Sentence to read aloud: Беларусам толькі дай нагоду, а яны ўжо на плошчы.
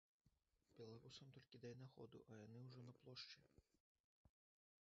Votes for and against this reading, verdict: 1, 2, rejected